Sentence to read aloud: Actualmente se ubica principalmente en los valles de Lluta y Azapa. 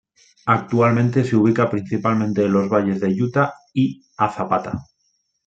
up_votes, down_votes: 0, 2